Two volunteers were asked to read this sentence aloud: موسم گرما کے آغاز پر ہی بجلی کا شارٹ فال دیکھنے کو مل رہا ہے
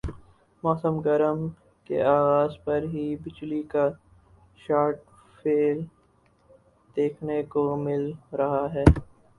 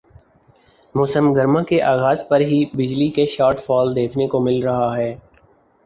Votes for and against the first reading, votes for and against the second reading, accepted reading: 0, 4, 2, 0, second